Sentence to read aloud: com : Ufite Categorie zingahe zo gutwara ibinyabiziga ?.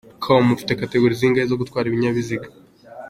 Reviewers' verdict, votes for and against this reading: accepted, 2, 0